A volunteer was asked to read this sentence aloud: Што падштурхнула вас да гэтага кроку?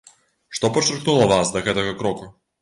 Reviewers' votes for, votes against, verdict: 1, 2, rejected